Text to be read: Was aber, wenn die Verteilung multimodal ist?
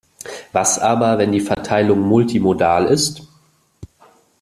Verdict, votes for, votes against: accepted, 2, 0